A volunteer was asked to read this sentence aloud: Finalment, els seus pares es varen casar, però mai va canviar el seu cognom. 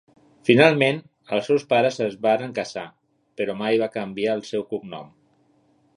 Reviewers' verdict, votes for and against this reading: rejected, 1, 2